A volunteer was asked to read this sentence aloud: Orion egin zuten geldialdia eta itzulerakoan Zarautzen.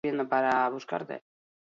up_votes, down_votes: 0, 2